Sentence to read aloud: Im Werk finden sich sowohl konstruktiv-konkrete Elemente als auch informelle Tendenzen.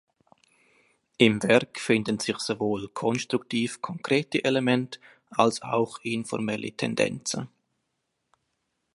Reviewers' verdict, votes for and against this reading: accepted, 2, 1